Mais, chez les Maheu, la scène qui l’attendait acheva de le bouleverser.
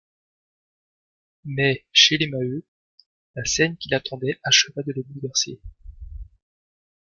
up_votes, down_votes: 2, 0